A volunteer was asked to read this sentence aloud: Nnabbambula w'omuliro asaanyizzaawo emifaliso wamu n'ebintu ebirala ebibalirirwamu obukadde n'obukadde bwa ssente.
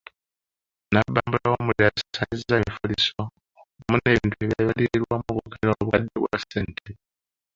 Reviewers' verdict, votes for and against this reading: rejected, 0, 2